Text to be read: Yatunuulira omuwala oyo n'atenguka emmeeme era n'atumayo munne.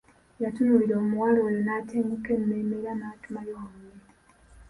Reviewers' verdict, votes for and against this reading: accepted, 2, 0